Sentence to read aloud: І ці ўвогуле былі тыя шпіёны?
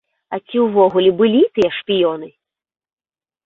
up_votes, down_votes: 1, 2